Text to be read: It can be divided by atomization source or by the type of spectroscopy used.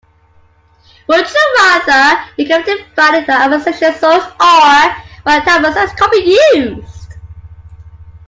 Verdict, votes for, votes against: rejected, 0, 2